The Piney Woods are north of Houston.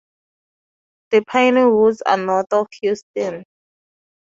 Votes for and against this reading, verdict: 2, 2, rejected